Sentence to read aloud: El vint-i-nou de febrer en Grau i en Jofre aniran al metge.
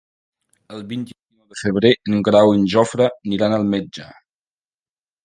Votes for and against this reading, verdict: 0, 2, rejected